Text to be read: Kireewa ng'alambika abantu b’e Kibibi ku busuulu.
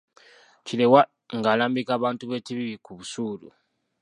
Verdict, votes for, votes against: accepted, 2, 1